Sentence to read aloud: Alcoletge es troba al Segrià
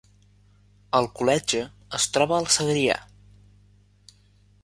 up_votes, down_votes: 2, 0